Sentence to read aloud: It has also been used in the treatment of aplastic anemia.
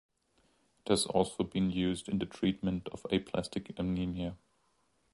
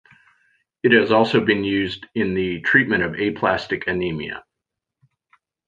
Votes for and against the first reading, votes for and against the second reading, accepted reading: 0, 2, 3, 0, second